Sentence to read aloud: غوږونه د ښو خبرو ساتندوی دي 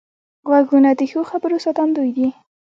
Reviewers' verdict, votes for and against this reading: rejected, 1, 2